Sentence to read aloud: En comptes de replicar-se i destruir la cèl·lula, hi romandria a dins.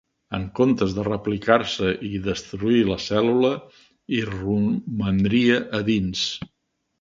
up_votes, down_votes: 2, 3